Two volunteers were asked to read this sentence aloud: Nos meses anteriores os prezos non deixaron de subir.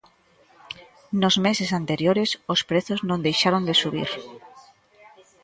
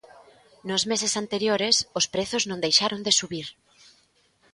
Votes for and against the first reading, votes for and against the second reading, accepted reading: 0, 2, 2, 0, second